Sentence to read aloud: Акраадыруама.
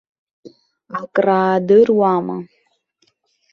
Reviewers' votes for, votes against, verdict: 0, 2, rejected